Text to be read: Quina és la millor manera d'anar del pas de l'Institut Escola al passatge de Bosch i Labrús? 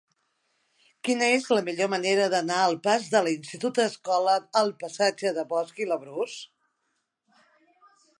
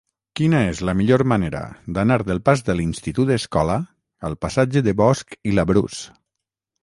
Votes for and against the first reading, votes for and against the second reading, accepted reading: 1, 2, 6, 0, second